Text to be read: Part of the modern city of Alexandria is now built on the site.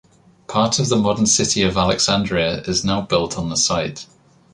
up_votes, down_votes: 2, 0